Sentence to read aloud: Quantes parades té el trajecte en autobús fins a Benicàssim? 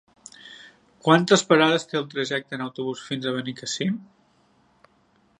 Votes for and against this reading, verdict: 0, 2, rejected